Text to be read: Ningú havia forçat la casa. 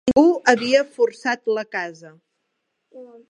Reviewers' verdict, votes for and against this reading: rejected, 1, 2